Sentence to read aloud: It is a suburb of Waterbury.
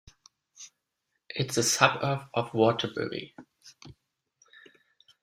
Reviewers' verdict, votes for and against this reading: rejected, 0, 2